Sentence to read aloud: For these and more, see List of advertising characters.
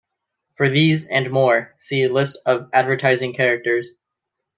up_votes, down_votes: 2, 0